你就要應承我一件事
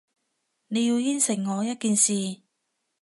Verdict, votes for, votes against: rejected, 1, 2